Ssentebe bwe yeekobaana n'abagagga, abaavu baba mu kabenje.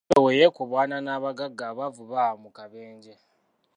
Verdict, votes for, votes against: rejected, 0, 2